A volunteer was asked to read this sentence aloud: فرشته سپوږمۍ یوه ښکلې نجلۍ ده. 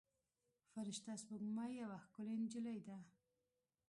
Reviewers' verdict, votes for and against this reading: accepted, 2, 0